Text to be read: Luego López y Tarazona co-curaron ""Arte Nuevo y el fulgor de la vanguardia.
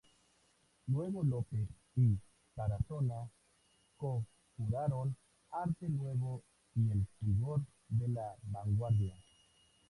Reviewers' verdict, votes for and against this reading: accepted, 2, 0